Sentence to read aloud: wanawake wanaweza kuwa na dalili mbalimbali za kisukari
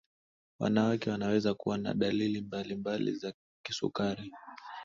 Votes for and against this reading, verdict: 2, 0, accepted